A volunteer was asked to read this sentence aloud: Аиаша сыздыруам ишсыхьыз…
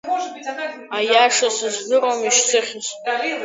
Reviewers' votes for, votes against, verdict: 0, 2, rejected